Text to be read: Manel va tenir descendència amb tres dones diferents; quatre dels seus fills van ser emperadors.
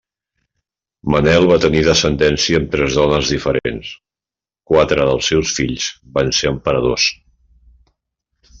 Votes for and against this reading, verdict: 2, 0, accepted